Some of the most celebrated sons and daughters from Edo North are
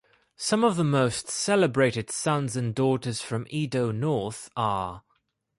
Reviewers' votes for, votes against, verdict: 2, 0, accepted